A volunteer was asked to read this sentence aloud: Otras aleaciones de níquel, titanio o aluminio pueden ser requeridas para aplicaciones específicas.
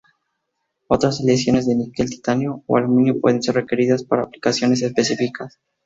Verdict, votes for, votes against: rejected, 2, 2